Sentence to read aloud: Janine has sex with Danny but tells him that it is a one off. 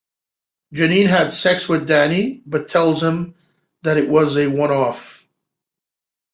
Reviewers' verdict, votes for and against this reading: rejected, 0, 2